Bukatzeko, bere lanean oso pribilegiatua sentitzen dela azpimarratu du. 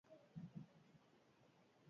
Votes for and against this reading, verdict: 0, 4, rejected